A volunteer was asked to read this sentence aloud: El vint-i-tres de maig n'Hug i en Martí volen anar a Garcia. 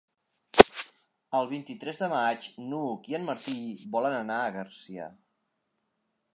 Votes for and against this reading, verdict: 2, 0, accepted